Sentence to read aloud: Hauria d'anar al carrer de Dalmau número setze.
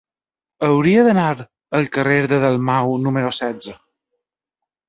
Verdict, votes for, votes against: accepted, 3, 1